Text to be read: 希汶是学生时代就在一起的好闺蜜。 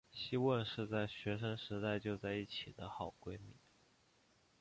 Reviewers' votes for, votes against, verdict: 2, 1, accepted